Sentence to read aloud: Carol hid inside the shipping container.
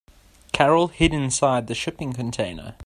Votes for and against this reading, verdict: 2, 0, accepted